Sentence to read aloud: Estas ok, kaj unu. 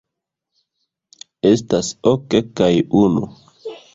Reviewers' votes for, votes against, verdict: 2, 0, accepted